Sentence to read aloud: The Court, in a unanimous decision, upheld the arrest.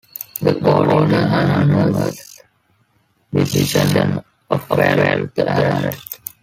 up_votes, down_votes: 0, 2